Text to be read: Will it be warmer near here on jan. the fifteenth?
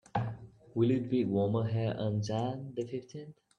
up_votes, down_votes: 0, 2